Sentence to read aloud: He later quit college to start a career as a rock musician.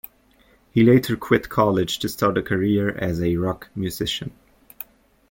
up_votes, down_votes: 2, 0